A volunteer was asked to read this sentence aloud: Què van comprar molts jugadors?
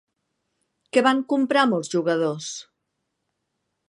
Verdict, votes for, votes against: accepted, 3, 0